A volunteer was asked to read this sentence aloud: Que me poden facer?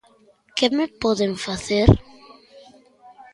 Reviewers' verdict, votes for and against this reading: accepted, 2, 1